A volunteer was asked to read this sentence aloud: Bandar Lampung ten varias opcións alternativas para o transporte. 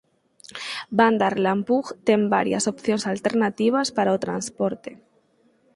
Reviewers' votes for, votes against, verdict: 0, 4, rejected